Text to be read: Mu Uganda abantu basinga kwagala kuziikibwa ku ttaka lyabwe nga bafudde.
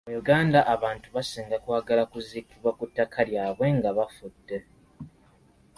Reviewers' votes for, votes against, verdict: 2, 0, accepted